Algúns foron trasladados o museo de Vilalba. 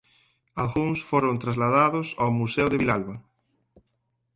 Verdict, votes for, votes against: accepted, 4, 0